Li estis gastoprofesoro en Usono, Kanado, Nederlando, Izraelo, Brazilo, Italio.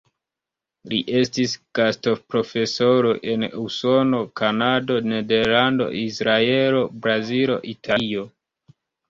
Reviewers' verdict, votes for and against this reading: accepted, 2, 1